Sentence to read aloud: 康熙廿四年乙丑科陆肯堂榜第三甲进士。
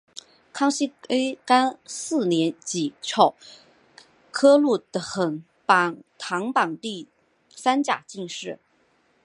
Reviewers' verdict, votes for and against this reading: accepted, 3, 1